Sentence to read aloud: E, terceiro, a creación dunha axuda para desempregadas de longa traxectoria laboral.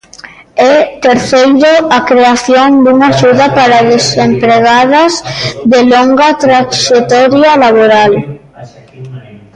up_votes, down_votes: 0, 2